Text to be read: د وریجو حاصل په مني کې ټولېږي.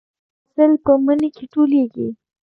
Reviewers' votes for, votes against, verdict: 0, 2, rejected